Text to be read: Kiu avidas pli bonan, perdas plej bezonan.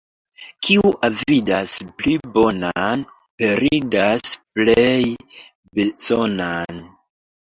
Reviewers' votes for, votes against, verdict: 2, 0, accepted